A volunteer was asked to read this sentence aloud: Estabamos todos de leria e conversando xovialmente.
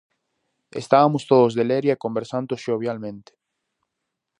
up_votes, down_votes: 2, 2